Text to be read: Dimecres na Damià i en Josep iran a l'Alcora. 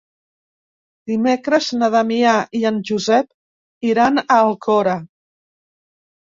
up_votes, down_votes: 1, 2